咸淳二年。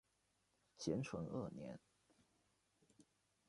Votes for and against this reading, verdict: 0, 2, rejected